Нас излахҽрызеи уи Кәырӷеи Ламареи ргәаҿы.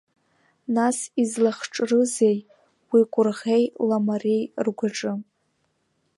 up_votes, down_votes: 1, 2